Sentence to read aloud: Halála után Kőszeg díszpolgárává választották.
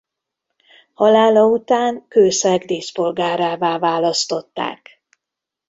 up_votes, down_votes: 1, 2